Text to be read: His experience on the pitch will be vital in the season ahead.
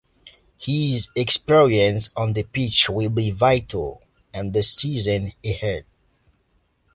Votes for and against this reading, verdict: 3, 0, accepted